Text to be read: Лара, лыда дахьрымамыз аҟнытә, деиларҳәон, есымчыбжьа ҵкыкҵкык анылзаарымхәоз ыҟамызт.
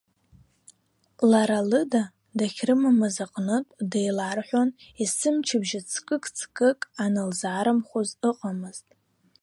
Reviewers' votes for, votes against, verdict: 2, 0, accepted